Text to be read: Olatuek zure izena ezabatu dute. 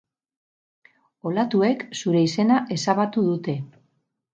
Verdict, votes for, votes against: rejected, 2, 2